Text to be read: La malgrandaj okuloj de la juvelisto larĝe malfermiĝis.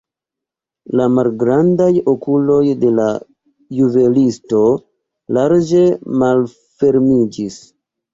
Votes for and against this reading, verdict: 3, 2, accepted